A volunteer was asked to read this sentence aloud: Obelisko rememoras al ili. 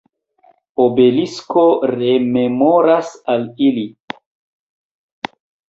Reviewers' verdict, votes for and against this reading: accepted, 2, 1